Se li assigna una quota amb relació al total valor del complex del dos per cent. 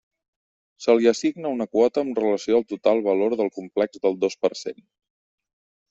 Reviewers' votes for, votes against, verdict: 2, 0, accepted